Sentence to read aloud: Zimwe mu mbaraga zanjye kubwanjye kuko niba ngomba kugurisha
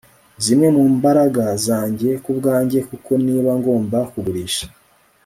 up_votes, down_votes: 2, 0